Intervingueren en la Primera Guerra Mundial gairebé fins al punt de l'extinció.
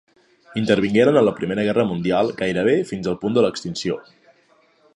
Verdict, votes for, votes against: accepted, 3, 0